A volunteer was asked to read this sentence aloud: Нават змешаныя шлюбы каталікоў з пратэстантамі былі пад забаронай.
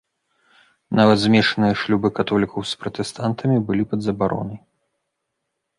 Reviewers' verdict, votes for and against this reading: rejected, 0, 3